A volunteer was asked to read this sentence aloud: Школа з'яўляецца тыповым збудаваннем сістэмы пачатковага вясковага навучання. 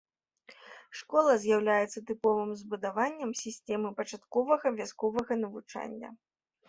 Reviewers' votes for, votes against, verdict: 1, 2, rejected